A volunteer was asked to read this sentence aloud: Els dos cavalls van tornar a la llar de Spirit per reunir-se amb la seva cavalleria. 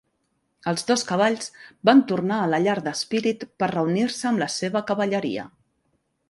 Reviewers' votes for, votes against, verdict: 2, 0, accepted